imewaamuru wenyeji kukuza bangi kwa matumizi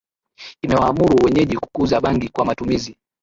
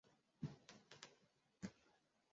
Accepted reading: first